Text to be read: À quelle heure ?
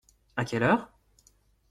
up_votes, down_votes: 2, 0